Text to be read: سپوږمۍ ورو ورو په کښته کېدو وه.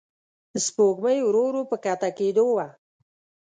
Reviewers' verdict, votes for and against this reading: accepted, 2, 0